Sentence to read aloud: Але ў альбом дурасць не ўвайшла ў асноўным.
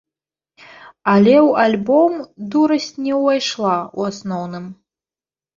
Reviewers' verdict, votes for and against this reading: accepted, 2, 0